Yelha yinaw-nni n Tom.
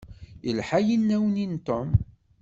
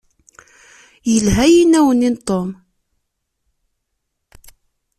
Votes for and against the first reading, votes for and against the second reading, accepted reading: 1, 2, 2, 0, second